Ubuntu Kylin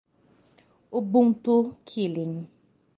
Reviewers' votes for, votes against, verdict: 0, 3, rejected